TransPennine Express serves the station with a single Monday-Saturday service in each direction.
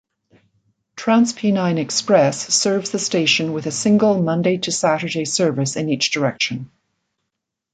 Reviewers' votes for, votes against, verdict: 1, 2, rejected